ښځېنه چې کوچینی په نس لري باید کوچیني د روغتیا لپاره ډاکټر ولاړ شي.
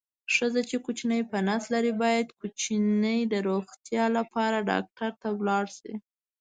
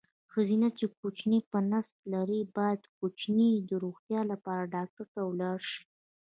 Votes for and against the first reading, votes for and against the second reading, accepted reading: 1, 2, 2, 1, second